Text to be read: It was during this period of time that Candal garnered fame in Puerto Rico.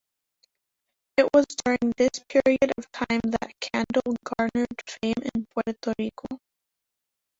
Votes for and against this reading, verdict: 1, 2, rejected